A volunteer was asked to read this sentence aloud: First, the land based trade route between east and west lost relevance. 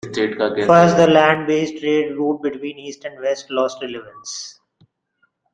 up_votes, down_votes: 0, 2